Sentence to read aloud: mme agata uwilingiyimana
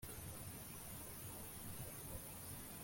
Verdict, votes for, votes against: rejected, 0, 2